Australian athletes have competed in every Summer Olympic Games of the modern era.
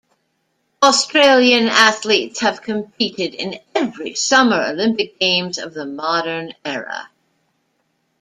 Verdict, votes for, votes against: accepted, 2, 0